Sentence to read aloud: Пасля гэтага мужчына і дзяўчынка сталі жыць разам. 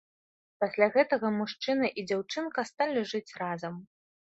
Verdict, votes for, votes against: accepted, 2, 0